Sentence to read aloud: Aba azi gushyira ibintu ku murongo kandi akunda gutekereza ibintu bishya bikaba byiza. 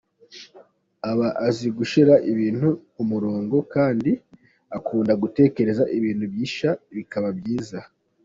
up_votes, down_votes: 2, 1